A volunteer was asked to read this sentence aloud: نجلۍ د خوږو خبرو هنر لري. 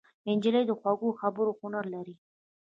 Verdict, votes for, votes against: accepted, 2, 0